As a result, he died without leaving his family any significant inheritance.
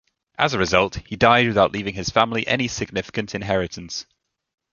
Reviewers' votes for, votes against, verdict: 2, 0, accepted